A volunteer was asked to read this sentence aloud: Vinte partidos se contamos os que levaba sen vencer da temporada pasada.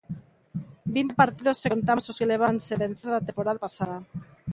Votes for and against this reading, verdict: 0, 2, rejected